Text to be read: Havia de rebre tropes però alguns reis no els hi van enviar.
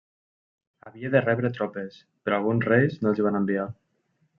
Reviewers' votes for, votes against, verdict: 1, 2, rejected